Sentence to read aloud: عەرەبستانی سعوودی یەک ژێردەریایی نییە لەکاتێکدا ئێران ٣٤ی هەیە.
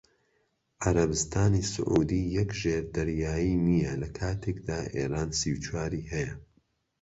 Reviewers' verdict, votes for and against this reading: rejected, 0, 2